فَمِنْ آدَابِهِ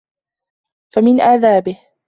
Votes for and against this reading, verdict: 1, 2, rejected